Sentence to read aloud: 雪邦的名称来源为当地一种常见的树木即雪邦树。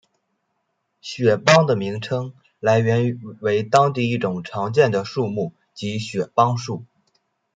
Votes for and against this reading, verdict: 1, 2, rejected